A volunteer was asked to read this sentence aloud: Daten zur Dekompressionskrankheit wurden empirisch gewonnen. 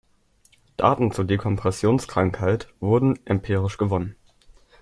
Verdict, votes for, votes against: accepted, 2, 0